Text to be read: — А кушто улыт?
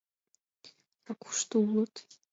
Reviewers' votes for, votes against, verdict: 2, 0, accepted